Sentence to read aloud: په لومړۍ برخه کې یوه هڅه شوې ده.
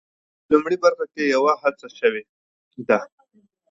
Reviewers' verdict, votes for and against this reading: accepted, 2, 0